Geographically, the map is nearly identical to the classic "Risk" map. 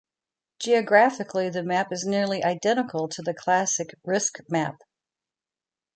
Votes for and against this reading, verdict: 0, 2, rejected